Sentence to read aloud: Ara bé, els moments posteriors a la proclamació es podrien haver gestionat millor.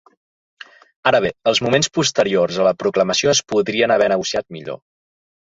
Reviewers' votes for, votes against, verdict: 0, 2, rejected